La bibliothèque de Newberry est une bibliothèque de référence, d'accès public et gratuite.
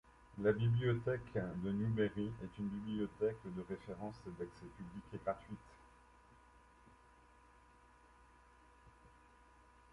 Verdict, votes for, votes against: accepted, 2, 1